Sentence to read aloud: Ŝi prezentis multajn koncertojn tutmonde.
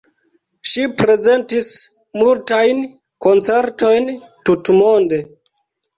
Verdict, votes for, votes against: accepted, 2, 0